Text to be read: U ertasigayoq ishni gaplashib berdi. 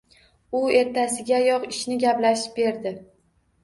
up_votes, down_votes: 2, 0